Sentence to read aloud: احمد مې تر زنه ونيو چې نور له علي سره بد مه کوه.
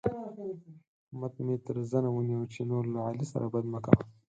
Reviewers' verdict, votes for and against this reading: accepted, 4, 0